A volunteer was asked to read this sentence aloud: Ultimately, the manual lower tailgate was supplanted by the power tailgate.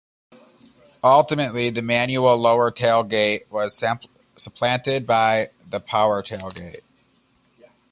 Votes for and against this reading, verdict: 0, 2, rejected